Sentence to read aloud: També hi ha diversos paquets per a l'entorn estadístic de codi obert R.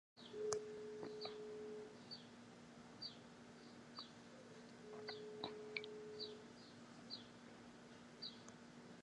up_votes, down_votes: 0, 2